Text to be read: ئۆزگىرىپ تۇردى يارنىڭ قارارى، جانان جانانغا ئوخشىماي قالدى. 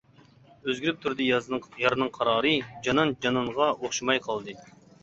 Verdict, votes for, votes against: rejected, 0, 2